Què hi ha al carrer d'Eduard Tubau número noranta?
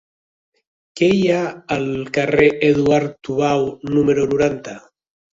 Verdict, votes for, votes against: rejected, 1, 2